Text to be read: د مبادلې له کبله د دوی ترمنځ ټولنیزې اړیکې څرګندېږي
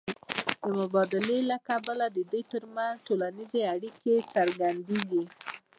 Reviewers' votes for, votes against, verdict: 0, 2, rejected